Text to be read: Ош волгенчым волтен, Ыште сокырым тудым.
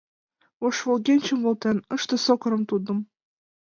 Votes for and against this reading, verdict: 2, 1, accepted